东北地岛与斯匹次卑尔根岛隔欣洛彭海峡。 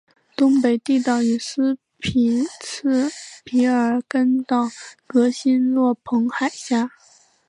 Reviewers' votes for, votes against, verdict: 0, 2, rejected